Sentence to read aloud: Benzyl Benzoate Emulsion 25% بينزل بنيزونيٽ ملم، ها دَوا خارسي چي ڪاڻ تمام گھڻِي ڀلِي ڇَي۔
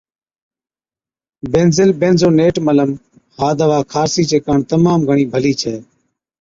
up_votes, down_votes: 0, 2